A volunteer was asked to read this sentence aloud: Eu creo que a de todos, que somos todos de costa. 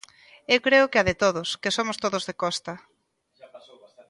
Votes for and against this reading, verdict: 2, 0, accepted